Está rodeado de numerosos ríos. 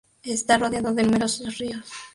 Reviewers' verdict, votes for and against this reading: rejected, 4, 4